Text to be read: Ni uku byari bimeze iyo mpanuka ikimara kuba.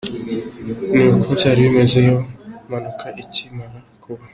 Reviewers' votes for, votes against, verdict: 2, 0, accepted